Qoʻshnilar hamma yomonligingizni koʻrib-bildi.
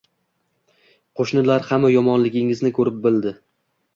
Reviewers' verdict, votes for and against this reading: accepted, 2, 0